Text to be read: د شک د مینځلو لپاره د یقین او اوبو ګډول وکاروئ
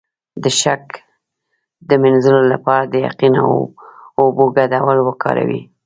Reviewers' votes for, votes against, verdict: 1, 2, rejected